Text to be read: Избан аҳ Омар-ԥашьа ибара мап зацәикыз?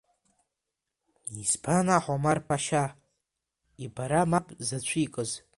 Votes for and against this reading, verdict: 0, 2, rejected